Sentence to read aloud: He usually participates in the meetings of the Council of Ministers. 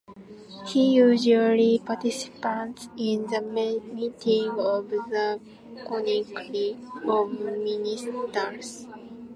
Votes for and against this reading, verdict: 0, 2, rejected